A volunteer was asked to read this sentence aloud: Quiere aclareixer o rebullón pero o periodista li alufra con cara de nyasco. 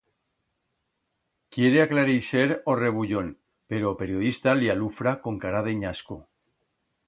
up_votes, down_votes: 2, 0